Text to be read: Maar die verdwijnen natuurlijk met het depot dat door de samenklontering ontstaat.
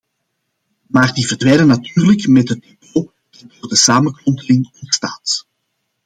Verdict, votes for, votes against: rejected, 1, 2